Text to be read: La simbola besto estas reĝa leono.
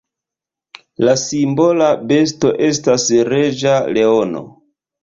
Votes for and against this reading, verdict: 1, 2, rejected